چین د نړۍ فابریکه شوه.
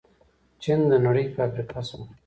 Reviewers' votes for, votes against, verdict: 2, 0, accepted